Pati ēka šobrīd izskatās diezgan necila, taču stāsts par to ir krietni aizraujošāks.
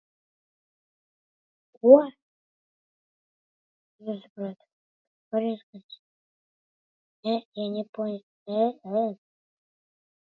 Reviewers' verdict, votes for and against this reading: rejected, 0, 2